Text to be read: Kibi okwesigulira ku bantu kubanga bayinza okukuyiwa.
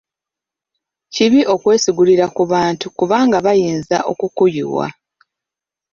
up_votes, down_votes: 2, 0